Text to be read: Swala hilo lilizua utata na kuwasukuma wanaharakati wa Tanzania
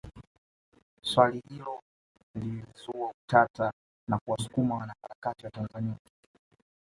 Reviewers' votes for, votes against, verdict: 1, 2, rejected